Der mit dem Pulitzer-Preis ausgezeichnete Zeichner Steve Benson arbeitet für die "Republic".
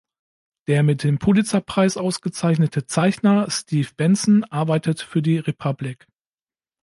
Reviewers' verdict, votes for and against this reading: accepted, 2, 0